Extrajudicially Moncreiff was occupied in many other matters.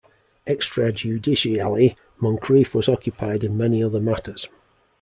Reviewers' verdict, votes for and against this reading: accepted, 2, 0